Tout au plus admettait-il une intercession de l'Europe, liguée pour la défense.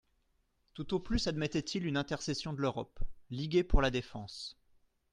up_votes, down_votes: 2, 0